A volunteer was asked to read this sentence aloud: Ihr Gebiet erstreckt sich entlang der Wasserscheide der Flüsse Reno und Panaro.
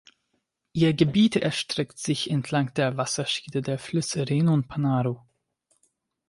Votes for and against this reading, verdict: 0, 2, rejected